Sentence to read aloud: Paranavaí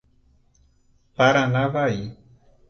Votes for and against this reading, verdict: 2, 0, accepted